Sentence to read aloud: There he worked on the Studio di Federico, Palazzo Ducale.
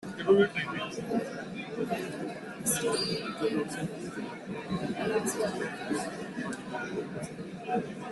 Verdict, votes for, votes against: rejected, 0, 2